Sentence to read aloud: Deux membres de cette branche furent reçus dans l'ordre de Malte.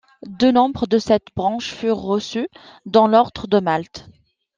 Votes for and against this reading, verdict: 2, 0, accepted